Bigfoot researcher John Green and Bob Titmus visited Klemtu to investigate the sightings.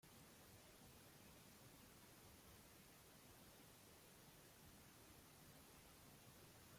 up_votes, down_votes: 1, 2